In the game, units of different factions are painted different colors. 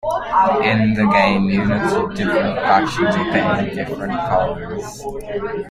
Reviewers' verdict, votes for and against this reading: rejected, 0, 2